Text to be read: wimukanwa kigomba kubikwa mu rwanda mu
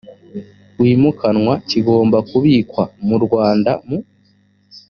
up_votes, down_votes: 2, 0